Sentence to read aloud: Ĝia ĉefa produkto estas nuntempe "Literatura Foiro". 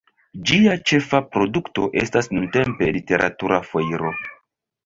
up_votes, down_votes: 2, 0